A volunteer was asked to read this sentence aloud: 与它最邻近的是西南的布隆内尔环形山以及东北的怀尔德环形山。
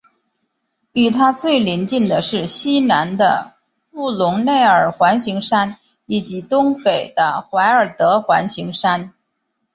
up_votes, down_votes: 2, 0